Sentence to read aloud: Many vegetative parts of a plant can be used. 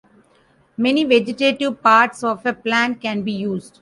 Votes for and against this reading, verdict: 2, 0, accepted